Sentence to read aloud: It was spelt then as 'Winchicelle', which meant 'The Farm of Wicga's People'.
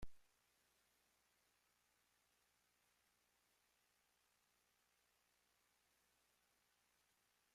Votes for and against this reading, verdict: 0, 2, rejected